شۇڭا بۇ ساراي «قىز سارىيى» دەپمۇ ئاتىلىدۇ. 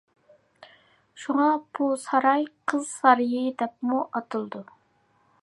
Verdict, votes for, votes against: accepted, 2, 0